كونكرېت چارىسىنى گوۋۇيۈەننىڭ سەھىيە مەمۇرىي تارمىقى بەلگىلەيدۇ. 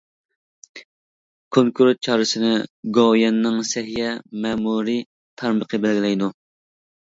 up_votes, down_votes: 2, 0